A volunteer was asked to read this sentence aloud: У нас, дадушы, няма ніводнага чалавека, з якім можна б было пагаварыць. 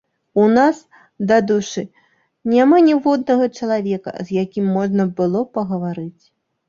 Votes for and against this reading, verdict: 0, 2, rejected